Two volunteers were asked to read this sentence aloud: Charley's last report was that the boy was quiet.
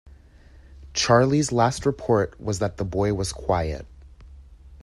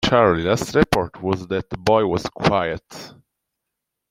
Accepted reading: first